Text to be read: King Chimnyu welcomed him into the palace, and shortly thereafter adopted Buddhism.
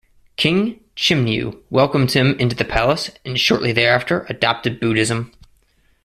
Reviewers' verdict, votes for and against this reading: accepted, 2, 0